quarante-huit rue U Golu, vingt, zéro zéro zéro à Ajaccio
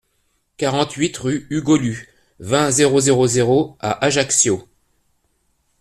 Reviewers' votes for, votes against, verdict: 2, 0, accepted